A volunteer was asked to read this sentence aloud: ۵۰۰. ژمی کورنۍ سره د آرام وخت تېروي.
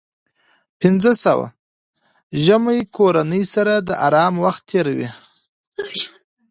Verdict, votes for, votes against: rejected, 0, 2